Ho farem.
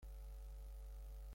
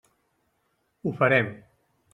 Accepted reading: second